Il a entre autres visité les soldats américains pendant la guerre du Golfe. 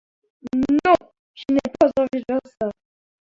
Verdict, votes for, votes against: rejected, 1, 2